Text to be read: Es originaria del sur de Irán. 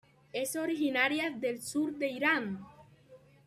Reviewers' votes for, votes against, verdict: 2, 0, accepted